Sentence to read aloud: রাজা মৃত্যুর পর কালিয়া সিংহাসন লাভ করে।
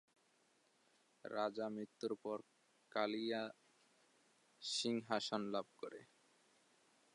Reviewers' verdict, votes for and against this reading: rejected, 4, 5